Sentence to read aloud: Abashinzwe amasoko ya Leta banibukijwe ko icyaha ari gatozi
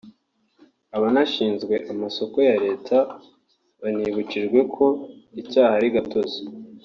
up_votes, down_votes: 1, 2